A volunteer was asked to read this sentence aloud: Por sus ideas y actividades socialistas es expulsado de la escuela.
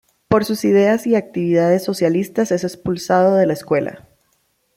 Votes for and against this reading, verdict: 2, 0, accepted